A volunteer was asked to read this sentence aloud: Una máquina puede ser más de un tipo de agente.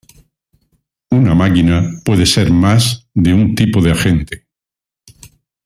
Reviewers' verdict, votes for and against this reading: rejected, 0, 2